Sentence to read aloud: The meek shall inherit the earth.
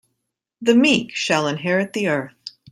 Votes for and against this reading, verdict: 6, 0, accepted